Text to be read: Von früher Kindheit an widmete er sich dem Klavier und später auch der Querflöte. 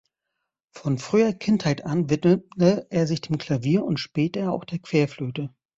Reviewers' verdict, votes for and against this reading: rejected, 0, 2